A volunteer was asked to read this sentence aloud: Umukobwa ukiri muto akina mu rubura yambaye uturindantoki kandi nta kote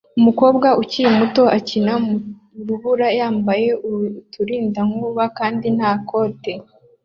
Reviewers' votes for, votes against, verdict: 2, 0, accepted